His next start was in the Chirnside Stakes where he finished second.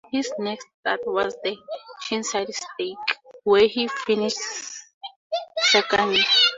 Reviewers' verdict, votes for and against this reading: rejected, 2, 2